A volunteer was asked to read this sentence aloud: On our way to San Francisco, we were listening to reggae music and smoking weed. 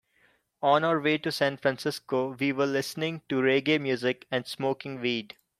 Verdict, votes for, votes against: accepted, 2, 0